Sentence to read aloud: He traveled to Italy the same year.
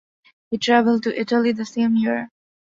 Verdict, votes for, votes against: accepted, 2, 0